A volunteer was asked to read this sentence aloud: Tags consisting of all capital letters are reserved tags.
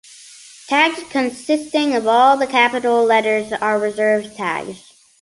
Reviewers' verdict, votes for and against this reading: rejected, 0, 2